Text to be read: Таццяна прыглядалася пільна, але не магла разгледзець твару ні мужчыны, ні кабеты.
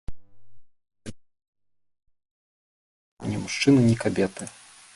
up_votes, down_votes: 0, 2